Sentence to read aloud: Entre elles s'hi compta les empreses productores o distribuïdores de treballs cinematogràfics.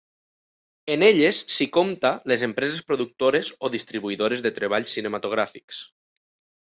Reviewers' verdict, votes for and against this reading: rejected, 0, 2